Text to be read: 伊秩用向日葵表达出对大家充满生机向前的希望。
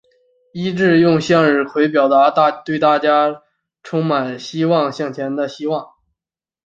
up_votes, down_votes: 3, 4